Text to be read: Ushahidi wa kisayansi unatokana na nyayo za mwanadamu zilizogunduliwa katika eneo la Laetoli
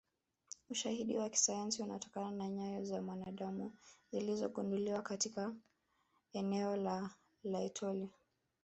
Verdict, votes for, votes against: rejected, 0, 2